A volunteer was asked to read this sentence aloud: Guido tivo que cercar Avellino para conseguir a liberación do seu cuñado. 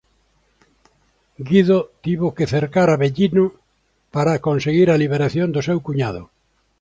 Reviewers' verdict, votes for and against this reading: accepted, 2, 0